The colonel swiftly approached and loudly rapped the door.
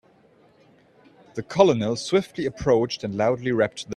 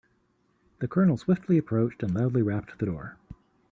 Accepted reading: second